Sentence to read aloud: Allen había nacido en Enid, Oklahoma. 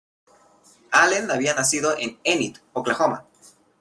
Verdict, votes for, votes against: accepted, 2, 0